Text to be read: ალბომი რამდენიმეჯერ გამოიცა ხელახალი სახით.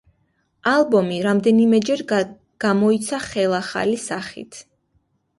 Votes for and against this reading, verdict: 1, 2, rejected